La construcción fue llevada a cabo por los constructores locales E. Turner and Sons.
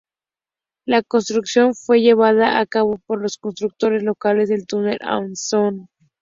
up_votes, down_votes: 0, 2